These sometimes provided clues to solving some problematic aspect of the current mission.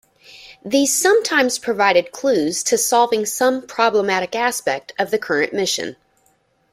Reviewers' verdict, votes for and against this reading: accepted, 2, 0